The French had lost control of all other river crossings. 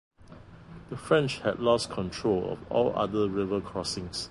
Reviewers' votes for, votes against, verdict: 2, 0, accepted